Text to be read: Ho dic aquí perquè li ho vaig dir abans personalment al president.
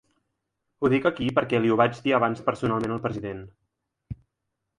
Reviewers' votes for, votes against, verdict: 2, 0, accepted